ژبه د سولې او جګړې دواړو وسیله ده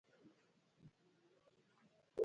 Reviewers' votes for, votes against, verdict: 1, 2, rejected